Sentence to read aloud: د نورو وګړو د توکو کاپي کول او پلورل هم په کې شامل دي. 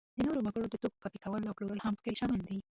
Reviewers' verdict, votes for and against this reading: rejected, 0, 2